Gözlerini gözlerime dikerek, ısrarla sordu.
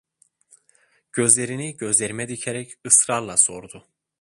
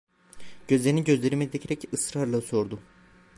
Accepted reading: first